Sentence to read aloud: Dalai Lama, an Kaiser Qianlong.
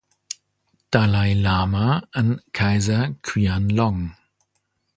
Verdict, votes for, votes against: accepted, 2, 0